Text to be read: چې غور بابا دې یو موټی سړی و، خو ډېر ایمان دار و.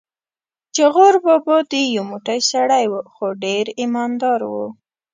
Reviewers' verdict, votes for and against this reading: accepted, 2, 1